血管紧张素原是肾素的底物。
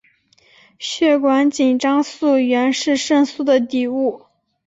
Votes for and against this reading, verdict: 2, 0, accepted